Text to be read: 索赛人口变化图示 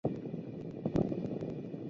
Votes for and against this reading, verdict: 2, 4, rejected